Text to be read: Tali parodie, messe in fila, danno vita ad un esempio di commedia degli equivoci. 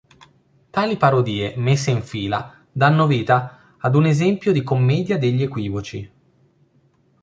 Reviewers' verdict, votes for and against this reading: accepted, 2, 0